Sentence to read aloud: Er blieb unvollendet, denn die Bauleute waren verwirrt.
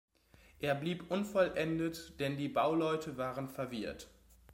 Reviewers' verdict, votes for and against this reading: accepted, 3, 0